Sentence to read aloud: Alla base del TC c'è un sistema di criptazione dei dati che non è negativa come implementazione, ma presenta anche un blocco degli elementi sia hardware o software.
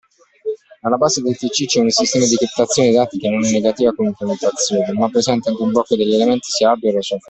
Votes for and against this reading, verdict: 1, 2, rejected